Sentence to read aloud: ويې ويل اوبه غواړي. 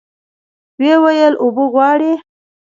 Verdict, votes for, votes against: accepted, 2, 0